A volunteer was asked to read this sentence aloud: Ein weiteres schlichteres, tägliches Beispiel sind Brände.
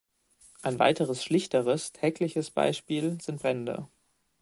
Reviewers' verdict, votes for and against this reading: accepted, 2, 1